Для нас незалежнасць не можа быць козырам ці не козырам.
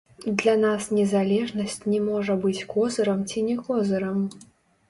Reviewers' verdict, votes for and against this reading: rejected, 1, 2